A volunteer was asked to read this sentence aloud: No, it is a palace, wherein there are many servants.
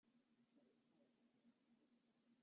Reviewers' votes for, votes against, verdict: 0, 2, rejected